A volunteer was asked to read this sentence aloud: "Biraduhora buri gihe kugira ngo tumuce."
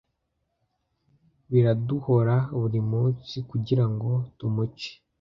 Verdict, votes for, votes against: rejected, 0, 2